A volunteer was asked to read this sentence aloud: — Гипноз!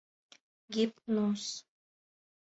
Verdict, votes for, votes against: accepted, 2, 0